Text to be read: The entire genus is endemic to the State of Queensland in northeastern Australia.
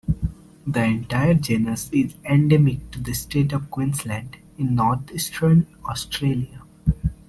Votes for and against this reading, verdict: 2, 0, accepted